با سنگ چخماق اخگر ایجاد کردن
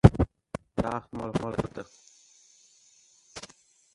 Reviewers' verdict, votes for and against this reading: rejected, 0, 2